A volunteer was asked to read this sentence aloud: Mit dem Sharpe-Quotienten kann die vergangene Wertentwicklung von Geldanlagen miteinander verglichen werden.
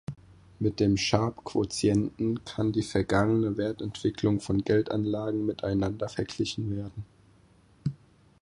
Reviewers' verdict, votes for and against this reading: accepted, 4, 0